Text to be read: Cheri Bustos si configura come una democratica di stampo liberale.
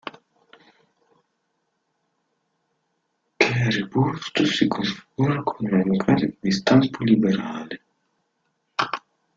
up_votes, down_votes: 0, 2